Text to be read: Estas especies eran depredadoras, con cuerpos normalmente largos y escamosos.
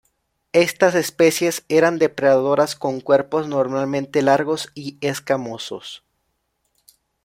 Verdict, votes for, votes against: accepted, 2, 0